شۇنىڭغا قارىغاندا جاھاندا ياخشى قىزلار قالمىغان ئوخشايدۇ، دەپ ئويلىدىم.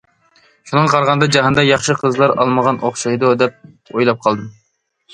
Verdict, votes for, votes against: rejected, 0, 2